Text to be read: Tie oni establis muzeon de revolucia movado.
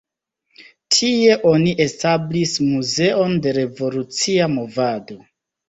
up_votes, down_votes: 2, 0